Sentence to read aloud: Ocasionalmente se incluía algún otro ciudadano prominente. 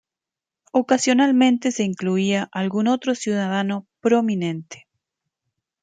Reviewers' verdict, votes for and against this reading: rejected, 1, 2